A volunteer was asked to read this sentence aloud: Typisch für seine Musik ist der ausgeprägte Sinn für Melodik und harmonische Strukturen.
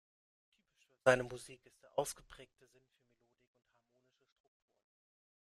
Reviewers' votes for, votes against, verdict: 0, 2, rejected